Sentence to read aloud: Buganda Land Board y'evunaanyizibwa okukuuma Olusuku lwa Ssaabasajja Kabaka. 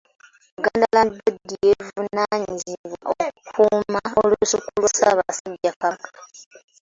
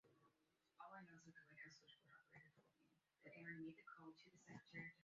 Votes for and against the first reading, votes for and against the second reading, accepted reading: 2, 0, 0, 2, first